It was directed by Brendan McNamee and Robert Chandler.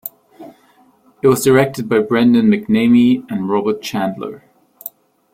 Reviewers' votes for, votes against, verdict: 2, 0, accepted